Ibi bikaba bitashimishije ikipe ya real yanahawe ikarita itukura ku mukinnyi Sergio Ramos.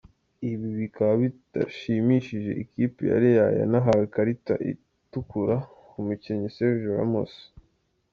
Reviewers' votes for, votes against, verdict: 2, 0, accepted